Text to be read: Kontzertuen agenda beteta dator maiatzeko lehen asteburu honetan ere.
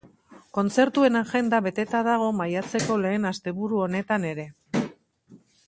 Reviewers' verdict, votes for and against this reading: rejected, 2, 4